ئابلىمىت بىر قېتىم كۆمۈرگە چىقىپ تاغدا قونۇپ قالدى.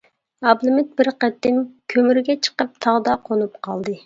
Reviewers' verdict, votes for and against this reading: accepted, 2, 0